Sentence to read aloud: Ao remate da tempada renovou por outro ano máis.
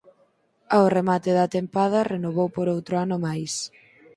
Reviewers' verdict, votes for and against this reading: accepted, 4, 0